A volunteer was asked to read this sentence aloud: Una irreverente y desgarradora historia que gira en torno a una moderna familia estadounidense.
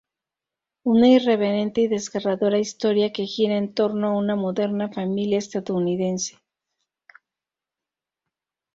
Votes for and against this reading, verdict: 2, 0, accepted